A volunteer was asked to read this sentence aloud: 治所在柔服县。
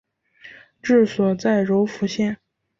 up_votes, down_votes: 6, 0